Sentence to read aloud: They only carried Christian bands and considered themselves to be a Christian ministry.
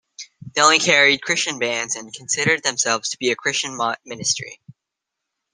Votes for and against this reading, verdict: 0, 2, rejected